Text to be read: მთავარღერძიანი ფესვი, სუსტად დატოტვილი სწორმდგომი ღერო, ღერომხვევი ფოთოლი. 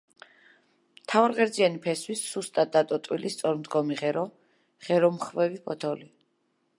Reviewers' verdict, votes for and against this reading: accepted, 2, 0